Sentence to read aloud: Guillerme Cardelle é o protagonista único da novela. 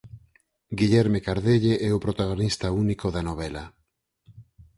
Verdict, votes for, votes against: accepted, 8, 0